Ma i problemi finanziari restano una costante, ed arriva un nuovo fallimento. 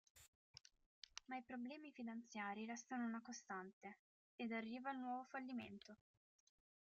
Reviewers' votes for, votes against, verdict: 2, 0, accepted